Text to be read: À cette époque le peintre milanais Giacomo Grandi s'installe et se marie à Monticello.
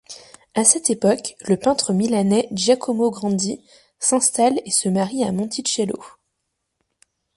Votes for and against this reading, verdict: 2, 1, accepted